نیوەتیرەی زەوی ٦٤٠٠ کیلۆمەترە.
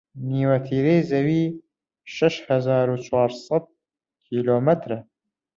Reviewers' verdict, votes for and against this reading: rejected, 0, 2